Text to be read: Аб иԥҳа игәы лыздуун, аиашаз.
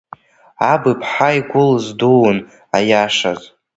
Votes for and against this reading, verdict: 2, 1, accepted